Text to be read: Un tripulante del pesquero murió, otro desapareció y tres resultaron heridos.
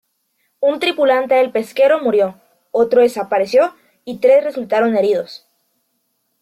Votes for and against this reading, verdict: 2, 0, accepted